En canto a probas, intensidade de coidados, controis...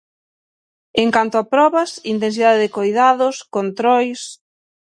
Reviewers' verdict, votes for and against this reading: accepted, 6, 0